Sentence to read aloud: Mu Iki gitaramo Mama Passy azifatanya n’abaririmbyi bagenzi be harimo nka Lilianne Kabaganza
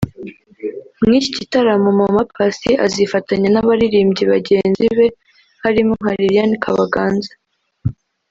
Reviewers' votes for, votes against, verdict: 1, 2, rejected